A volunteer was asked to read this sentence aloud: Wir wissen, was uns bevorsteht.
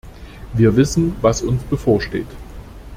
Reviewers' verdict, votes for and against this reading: accepted, 2, 0